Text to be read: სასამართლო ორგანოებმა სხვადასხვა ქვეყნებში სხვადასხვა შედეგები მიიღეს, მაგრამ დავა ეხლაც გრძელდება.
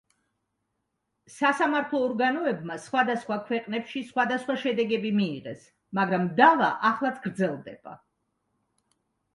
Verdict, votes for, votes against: accepted, 2, 1